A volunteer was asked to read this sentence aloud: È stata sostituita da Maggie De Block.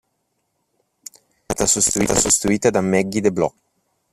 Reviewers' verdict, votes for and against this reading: rejected, 1, 2